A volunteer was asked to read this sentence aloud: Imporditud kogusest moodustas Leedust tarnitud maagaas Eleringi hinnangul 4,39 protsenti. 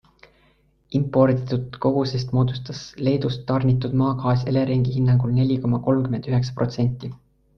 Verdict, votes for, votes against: rejected, 0, 2